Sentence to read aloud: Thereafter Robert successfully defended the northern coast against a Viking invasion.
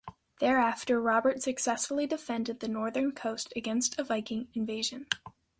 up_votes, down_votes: 2, 1